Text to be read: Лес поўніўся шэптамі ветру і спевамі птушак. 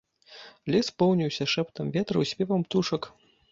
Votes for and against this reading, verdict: 1, 2, rejected